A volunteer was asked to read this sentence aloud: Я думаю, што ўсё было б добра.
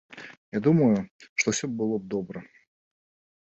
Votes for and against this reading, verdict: 3, 0, accepted